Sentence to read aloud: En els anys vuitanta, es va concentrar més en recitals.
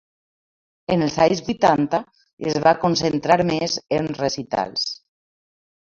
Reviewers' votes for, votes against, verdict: 2, 1, accepted